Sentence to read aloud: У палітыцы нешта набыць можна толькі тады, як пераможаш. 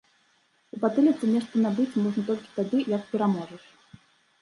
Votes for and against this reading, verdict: 0, 2, rejected